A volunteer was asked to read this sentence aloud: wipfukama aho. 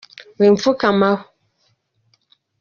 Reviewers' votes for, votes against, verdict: 0, 2, rejected